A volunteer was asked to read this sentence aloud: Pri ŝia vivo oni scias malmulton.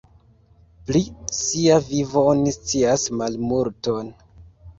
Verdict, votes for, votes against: accepted, 2, 1